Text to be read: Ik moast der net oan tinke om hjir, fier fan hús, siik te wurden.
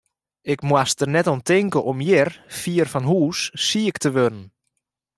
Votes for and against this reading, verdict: 2, 0, accepted